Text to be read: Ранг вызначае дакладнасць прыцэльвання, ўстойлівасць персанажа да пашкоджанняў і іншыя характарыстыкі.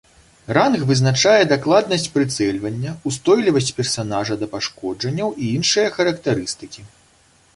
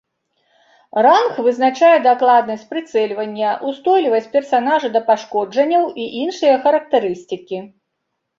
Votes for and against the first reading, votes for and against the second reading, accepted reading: 2, 0, 0, 2, first